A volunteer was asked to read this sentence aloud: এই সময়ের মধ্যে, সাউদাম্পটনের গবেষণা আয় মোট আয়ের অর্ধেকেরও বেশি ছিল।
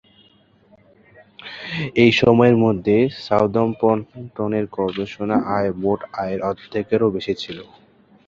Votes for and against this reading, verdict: 6, 2, accepted